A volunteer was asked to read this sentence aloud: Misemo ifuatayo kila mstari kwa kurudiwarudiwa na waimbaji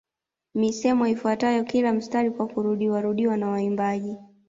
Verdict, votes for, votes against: accepted, 2, 0